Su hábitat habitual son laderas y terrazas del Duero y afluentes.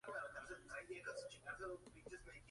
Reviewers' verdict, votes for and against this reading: rejected, 0, 2